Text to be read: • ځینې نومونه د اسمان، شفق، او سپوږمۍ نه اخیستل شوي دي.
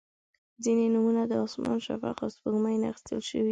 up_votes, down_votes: 0, 2